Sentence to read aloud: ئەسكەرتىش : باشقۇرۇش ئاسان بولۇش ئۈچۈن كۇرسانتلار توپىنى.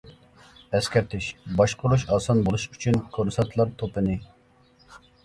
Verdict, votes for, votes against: accepted, 2, 0